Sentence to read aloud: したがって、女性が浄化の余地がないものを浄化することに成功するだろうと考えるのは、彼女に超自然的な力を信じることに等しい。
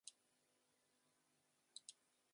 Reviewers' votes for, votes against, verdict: 0, 2, rejected